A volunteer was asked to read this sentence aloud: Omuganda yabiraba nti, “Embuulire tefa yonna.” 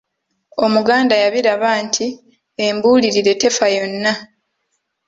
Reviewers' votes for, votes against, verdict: 2, 0, accepted